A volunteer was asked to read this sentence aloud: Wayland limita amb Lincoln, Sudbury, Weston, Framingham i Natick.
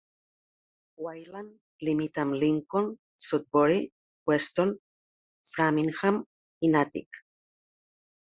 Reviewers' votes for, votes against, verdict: 0, 2, rejected